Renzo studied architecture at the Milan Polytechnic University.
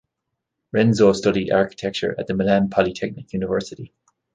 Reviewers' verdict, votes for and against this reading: accepted, 2, 0